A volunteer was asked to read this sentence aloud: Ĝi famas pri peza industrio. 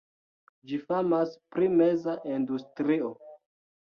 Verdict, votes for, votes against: rejected, 0, 2